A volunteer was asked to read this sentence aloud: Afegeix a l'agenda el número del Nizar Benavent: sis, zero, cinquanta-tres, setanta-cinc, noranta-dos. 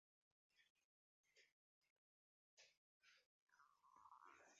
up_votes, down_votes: 0, 2